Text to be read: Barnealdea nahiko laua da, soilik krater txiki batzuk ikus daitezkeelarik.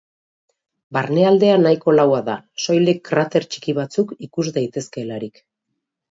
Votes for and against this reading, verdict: 4, 0, accepted